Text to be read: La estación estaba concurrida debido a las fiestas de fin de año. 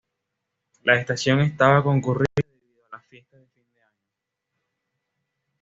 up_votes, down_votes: 1, 2